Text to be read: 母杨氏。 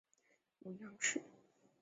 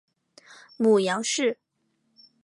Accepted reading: second